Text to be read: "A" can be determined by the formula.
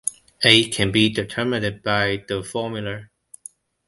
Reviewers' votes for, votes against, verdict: 1, 2, rejected